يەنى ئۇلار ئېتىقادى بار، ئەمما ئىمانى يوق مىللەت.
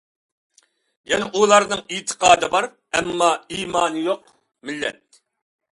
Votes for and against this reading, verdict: 0, 2, rejected